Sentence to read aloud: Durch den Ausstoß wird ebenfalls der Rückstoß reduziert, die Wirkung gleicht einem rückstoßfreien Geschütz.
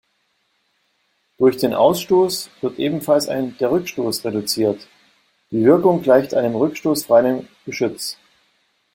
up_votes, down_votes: 0, 2